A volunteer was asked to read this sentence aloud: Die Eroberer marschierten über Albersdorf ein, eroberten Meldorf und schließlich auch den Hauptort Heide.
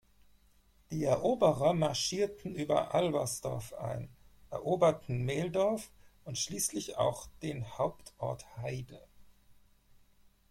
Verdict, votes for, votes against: accepted, 4, 0